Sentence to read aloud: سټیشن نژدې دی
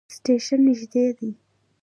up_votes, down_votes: 2, 0